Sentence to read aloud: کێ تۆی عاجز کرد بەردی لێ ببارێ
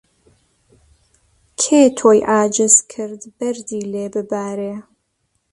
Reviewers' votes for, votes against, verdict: 2, 0, accepted